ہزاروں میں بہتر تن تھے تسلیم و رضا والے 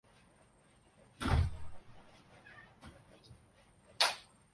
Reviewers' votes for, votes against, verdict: 0, 3, rejected